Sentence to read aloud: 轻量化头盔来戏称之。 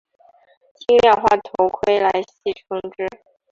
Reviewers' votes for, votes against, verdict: 5, 0, accepted